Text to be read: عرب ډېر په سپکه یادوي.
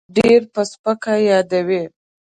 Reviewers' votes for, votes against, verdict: 0, 2, rejected